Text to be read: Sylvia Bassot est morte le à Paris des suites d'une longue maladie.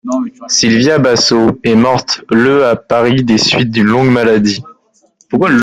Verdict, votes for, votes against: rejected, 1, 2